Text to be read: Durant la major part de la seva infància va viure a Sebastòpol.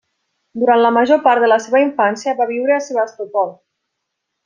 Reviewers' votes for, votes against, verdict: 0, 2, rejected